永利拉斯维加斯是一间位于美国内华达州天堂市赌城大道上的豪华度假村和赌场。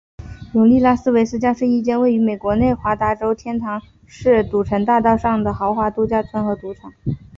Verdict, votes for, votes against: accepted, 5, 0